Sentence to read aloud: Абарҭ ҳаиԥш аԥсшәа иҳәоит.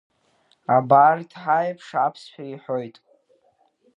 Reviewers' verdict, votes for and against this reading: accepted, 2, 1